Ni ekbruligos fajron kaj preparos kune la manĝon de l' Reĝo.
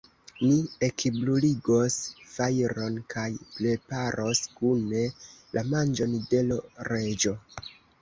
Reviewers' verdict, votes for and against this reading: rejected, 0, 2